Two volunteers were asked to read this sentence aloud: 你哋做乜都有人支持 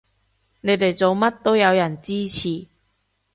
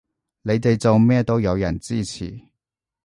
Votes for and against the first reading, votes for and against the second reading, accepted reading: 2, 0, 1, 2, first